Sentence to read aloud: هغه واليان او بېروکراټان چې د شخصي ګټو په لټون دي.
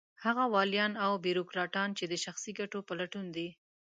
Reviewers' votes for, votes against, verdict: 3, 0, accepted